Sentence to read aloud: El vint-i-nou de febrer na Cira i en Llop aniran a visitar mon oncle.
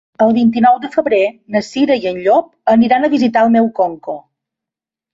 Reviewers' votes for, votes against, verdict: 1, 2, rejected